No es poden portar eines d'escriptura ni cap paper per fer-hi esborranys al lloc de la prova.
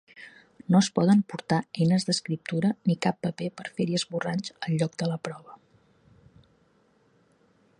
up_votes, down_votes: 2, 0